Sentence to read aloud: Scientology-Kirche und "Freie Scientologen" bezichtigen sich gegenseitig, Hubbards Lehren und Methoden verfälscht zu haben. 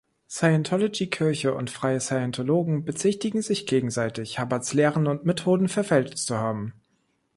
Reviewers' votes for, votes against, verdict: 0, 2, rejected